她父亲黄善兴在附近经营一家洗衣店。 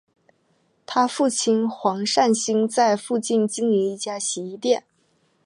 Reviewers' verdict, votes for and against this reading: rejected, 1, 2